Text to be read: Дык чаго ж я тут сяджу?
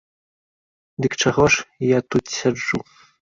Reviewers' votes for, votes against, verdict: 2, 0, accepted